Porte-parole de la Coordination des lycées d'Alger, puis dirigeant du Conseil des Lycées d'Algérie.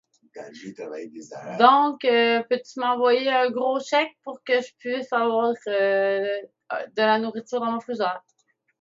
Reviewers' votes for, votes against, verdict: 0, 2, rejected